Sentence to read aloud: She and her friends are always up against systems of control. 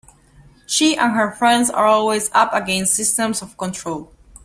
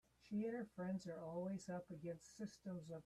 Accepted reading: first